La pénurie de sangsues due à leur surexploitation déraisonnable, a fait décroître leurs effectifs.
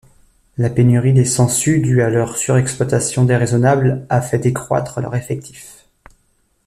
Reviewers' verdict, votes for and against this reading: rejected, 0, 2